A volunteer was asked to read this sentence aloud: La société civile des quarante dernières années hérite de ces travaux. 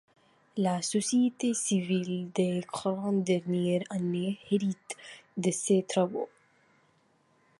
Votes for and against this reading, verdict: 2, 0, accepted